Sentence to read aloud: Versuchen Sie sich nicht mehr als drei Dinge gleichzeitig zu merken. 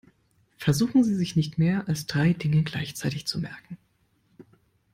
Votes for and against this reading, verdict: 2, 0, accepted